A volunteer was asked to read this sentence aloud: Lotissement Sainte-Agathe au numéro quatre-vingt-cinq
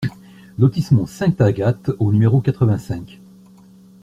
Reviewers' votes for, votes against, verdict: 2, 0, accepted